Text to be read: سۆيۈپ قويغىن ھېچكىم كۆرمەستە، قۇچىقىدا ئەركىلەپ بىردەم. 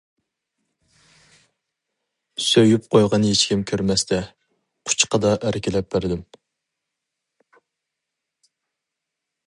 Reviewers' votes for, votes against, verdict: 0, 2, rejected